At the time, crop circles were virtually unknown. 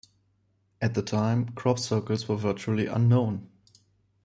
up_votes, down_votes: 2, 0